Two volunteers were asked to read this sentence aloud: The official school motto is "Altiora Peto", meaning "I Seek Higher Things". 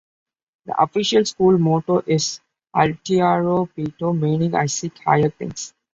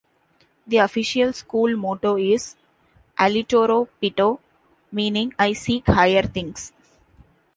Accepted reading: first